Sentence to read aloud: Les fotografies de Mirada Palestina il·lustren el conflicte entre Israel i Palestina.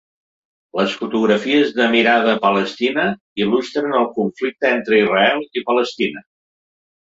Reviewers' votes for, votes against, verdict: 2, 0, accepted